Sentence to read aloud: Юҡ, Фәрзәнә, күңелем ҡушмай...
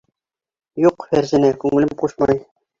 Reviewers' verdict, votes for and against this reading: accepted, 2, 1